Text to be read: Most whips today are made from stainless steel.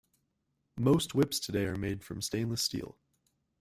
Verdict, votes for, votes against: accepted, 3, 0